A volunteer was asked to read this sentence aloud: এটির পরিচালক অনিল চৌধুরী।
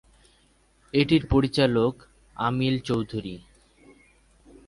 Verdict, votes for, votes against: rejected, 1, 2